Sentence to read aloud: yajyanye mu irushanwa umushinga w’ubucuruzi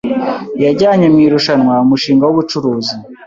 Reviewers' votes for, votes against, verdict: 2, 0, accepted